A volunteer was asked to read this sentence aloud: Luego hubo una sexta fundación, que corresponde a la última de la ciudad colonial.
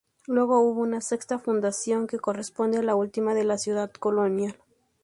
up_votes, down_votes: 0, 2